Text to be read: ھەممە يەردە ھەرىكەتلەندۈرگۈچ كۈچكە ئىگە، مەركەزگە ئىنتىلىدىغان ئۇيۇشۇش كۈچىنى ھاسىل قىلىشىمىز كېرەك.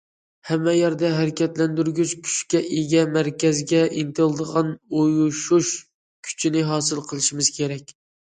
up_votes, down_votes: 2, 0